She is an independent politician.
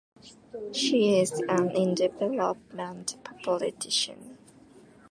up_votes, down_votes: 2, 1